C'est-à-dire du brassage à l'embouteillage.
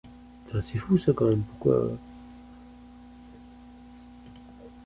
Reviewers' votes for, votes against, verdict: 0, 2, rejected